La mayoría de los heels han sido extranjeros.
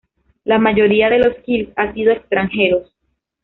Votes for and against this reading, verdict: 2, 0, accepted